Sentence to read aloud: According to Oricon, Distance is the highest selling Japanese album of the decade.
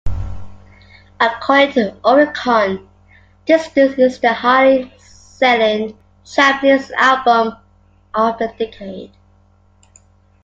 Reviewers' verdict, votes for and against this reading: rejected, 1, 2